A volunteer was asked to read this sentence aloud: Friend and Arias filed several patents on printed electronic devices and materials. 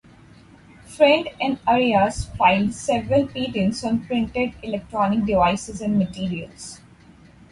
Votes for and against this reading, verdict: 2, 4, rejected